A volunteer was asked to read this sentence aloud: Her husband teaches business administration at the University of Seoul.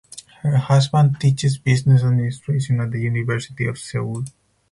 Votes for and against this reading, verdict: 4, 0, accepted